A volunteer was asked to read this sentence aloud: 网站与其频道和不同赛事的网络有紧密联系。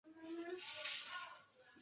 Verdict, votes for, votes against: rejected, 0, 5